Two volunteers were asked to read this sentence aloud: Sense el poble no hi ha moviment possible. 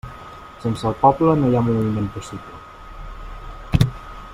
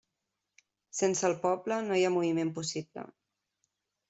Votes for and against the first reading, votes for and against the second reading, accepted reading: 1, 2, 3, 0, second